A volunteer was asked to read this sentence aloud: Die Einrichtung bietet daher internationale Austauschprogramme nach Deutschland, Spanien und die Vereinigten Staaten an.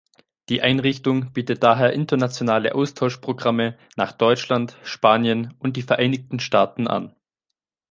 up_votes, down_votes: 2, 0